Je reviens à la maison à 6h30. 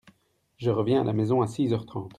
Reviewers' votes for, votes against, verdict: 0, 2, rejected